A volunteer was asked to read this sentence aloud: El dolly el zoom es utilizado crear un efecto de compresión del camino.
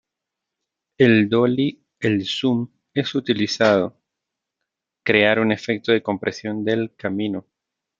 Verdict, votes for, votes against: rejected, 1, 2